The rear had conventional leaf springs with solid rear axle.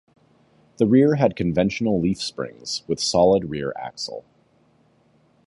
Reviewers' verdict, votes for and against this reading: accepted, 2, 1